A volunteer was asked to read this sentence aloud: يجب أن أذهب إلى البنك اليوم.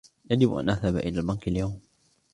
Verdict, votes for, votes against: accepted, 2, 0